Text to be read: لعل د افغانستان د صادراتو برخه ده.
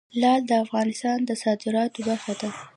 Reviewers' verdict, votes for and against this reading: accepted, 2, 0